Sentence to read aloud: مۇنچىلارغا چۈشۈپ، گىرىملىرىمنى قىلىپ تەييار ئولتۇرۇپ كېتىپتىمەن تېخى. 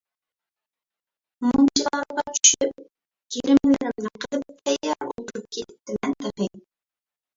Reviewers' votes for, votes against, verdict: 0, 2, rejected